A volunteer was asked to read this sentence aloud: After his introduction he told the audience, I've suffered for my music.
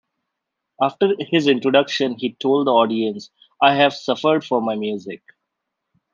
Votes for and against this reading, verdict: 2, 1, accepted